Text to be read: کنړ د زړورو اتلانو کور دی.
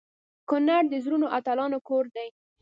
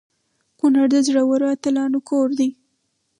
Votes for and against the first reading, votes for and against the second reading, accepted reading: 2, 0, 0, 2, first